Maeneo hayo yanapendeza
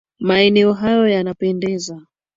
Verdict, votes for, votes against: rejected, 0, 2